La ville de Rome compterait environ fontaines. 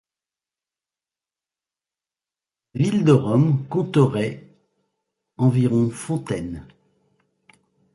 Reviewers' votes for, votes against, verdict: 1, 2, rejected